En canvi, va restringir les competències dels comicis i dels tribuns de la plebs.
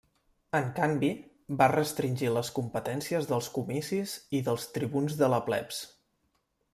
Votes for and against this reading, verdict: 2, 0, accepted